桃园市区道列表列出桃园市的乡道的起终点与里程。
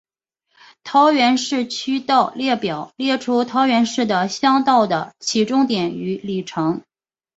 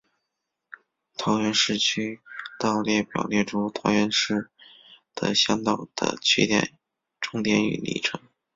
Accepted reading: first